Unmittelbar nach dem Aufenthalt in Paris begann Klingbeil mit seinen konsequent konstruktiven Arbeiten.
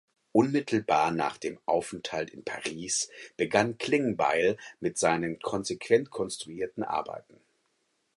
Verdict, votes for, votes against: rejected, 2, 4